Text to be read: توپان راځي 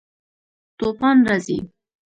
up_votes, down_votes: 1, 2